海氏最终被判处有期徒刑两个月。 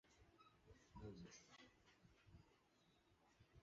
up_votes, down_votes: 0, 2